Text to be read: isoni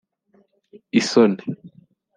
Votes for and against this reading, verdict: 2, 0, accepted